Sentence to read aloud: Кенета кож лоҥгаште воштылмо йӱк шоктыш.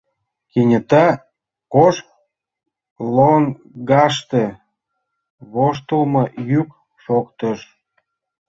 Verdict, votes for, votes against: rejected, 1, 2